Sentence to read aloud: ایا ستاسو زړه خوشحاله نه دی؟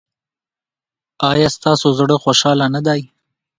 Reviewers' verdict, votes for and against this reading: accepted, 2, 0